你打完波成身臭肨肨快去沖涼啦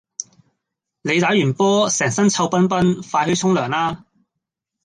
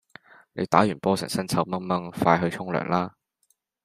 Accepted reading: second